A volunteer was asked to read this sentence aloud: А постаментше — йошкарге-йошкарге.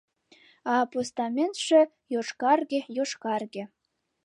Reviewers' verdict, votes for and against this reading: accepted, 2, 0